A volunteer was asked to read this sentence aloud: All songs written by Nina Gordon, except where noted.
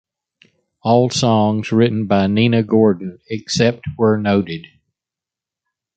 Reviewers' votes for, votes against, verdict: 2, 0, accepted